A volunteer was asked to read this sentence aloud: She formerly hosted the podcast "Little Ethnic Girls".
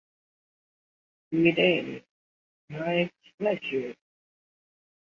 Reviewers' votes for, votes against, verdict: 0, 2, rejected